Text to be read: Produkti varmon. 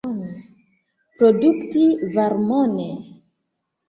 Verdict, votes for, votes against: rejected, 0, 2